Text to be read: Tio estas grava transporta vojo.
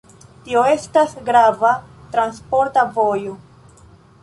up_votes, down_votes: 2, 0